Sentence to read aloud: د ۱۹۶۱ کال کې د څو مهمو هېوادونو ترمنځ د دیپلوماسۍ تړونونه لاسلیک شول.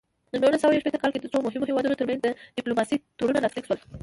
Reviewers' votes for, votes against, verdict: 0, 2, rejected